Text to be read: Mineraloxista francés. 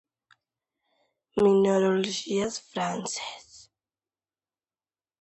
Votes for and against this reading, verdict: 0, 2, rejected